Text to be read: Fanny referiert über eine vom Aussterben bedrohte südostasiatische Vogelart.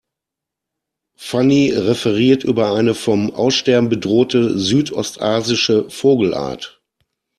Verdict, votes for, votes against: rejected, 1, 2